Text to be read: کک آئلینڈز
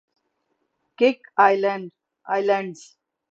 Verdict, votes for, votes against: rejected, 3, 3